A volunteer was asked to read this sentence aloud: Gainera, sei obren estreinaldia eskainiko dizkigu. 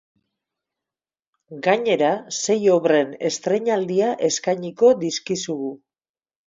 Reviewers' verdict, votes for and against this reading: rejected, 0, 4